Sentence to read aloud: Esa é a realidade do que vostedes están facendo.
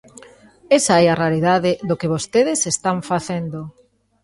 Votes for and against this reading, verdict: 2, 0, accepted